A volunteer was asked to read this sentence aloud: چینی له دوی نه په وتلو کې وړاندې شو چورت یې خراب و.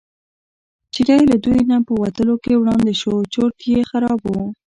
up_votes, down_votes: 0, 2